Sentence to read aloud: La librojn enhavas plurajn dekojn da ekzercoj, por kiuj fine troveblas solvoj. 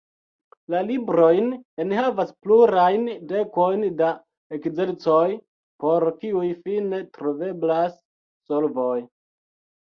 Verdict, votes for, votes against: accepted, 2, 0